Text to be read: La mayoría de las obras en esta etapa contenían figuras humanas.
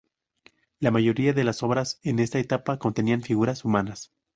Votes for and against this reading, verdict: 2, 2, rejected